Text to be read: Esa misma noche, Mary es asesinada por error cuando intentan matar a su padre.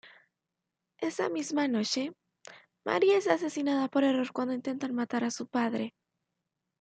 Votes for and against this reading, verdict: 1, 2, rejected